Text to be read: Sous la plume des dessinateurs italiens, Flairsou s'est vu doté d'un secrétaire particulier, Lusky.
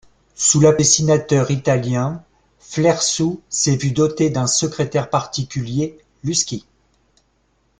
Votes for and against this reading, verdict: 0, 3, rejected